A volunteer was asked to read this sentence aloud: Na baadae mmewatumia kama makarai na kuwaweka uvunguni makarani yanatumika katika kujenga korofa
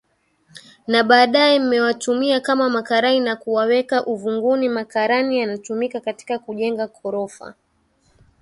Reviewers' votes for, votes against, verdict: 2, 0, accepted